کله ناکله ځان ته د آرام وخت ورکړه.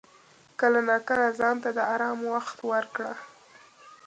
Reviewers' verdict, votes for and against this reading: accepted, 2, 0